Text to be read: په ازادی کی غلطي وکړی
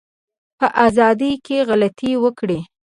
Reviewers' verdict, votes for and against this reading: accepted, 2, 0